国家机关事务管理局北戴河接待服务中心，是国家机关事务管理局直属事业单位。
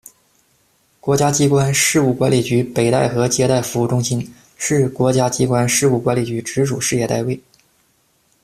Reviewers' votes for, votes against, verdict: 2, 0, accepted